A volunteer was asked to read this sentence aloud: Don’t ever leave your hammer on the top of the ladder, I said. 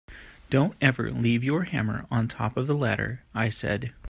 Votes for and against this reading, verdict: 3, 1, accepted